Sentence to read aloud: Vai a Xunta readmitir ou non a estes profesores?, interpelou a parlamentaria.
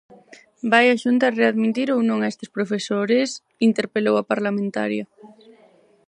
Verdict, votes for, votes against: rejected, 0, 4